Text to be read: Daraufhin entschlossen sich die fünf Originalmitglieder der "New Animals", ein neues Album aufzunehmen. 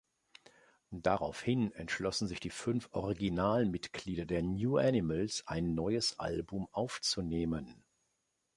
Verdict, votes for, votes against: accepted, 2, 0